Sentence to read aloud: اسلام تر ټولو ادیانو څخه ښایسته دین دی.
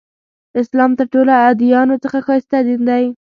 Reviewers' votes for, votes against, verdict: 2, 0, accepted